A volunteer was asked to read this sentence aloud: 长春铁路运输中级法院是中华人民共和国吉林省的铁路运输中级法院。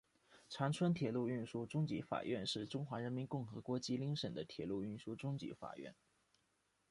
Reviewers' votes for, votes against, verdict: 2, 0, accepted